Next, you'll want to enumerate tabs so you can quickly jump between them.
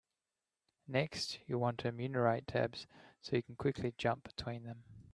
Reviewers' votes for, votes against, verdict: 3, 2, accepted